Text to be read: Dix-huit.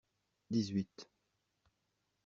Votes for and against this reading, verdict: 2, 0, accepted